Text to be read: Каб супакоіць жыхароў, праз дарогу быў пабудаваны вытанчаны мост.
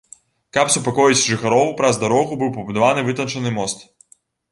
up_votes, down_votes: 1, 2